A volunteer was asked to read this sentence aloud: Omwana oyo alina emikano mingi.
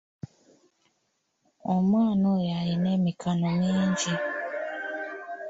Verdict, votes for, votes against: rejected, 1, 2